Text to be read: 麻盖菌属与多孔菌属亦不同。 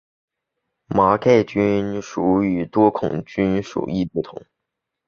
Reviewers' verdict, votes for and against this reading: accepted, 3, 0